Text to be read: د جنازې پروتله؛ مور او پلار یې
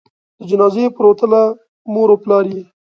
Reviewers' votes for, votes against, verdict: 2, 1, accepted